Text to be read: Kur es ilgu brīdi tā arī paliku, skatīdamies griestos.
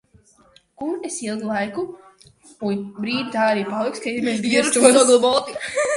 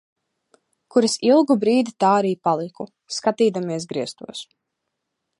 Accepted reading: second